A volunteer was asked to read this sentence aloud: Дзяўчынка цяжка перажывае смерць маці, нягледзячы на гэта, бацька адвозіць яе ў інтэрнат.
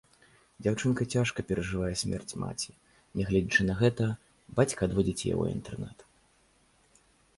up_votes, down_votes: 1, 2